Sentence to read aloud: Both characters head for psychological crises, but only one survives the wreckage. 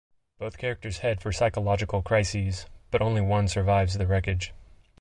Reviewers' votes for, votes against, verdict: 2, 1, accepted